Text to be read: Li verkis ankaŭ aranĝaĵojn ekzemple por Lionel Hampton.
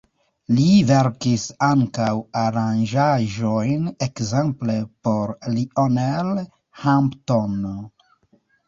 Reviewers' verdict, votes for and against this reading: rejected, 1, 2